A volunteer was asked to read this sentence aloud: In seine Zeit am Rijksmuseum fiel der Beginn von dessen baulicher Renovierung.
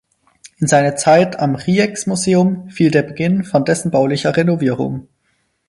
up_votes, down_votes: 2, 4